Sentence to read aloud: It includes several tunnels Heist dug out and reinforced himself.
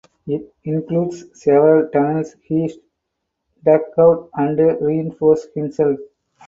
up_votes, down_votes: 2, 0